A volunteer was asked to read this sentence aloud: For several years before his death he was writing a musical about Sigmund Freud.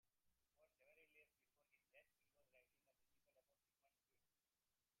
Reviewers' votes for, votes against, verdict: 0, 3, rejected